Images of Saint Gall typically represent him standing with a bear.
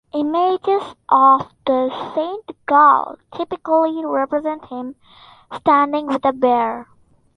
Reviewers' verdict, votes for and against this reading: accepted, 2, 0